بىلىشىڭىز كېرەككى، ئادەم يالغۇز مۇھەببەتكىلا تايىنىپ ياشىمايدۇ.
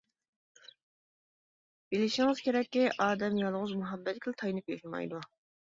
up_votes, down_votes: 1, 2